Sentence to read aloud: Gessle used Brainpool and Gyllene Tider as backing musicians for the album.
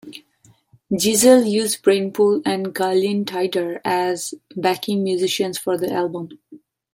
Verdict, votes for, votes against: accepted, 2, 0